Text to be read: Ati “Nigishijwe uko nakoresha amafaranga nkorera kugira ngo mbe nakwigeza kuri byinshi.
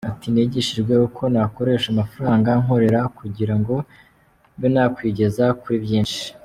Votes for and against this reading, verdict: 2, 0, accepted